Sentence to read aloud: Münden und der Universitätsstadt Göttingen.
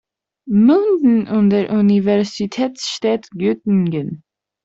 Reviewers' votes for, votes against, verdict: 0, 2, rejected